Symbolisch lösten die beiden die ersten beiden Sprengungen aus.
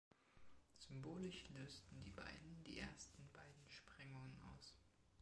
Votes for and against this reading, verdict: 2, 1, accepted